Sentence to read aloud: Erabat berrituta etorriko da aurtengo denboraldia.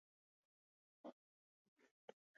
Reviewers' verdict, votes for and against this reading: rejected, 0, 2